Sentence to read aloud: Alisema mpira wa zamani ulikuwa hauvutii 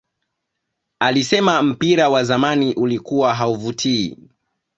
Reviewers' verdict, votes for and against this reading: rejected, 1, 2